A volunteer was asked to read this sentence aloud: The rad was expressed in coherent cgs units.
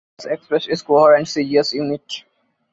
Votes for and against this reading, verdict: 0, 2, rejected